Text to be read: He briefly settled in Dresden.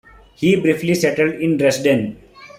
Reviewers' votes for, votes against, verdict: 2, 0, accepted